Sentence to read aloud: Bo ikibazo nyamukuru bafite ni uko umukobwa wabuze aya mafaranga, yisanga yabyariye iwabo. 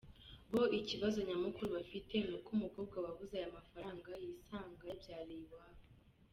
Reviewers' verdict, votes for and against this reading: accepted, 2, 0